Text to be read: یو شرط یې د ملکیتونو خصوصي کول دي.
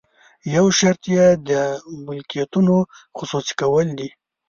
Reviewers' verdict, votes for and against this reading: accepted, 2, 0